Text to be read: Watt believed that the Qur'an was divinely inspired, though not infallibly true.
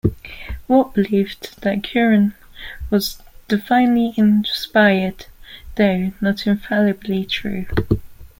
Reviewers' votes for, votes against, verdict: 0, 2, rejected